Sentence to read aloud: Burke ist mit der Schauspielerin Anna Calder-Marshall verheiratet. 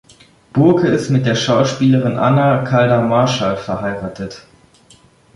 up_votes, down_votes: 2, 0